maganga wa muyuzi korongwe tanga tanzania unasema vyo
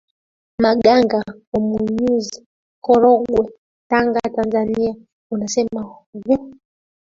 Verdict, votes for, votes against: rejected, 0, 2